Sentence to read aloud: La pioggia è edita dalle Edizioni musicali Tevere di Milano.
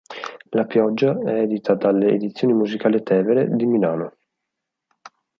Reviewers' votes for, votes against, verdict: 4, 0, accepted